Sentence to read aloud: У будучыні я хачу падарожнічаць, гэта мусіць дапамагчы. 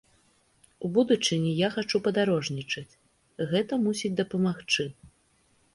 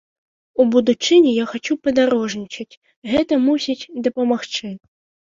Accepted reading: first